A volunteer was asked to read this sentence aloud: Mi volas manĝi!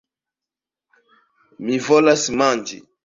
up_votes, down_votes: 2, 0